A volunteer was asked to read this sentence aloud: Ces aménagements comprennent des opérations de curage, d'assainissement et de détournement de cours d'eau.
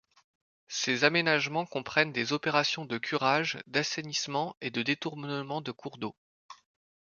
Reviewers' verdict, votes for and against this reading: rejected, 1, 2